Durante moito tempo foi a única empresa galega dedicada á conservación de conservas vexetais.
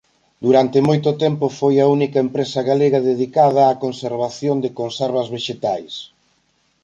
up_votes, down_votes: 4, 0